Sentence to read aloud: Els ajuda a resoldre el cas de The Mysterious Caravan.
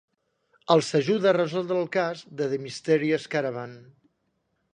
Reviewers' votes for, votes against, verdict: 2, 0, accepted